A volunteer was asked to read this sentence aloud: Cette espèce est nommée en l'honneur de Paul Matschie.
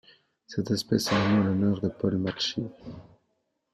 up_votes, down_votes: 2, 0